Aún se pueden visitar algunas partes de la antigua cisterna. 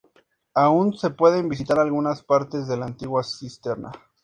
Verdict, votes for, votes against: accepted, 2, 0